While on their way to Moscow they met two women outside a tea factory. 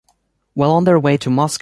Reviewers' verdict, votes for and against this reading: rejected, 0, 2